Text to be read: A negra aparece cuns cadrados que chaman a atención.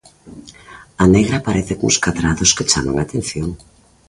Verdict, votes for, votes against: accepted, 2, 1